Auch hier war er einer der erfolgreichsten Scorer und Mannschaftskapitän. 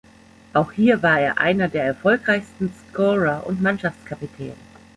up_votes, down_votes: 2, 0